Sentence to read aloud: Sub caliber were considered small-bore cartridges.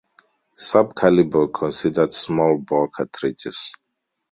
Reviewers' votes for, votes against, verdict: 0, 2, rejected